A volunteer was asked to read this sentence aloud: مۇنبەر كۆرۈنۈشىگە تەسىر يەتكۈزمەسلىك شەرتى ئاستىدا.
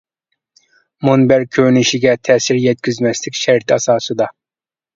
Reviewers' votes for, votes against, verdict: 0, 2, rejected